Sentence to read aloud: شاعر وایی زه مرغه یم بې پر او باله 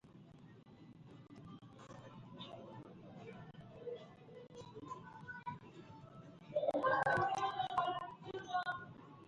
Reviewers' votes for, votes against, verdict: 0, 2, rejected